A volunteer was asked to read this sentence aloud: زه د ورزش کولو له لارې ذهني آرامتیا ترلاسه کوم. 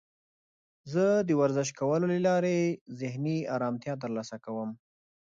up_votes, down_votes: 2, 0